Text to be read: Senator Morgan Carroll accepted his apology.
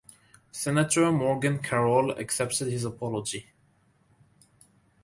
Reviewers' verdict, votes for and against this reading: accepted, 2, 0